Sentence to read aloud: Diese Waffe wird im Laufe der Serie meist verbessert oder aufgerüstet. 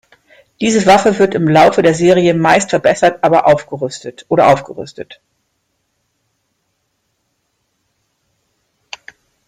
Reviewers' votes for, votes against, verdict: 0, 2, rejected